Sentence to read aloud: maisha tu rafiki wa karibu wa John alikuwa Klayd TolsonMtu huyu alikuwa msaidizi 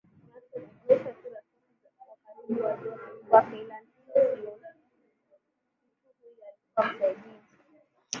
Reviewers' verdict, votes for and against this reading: rejected, 0, 2